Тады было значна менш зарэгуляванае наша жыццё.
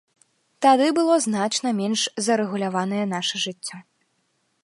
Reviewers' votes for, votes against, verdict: 2, 0, accepted